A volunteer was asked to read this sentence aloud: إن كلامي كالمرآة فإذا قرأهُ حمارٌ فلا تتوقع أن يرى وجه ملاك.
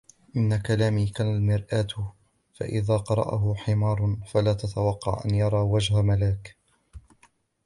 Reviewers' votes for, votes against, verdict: 2, 0, accepted